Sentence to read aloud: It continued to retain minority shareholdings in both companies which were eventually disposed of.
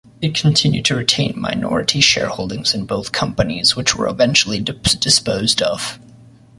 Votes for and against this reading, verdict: 1, 2, rejected